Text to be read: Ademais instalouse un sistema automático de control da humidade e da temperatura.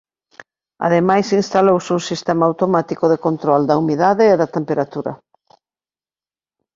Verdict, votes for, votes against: accepted, 2, 0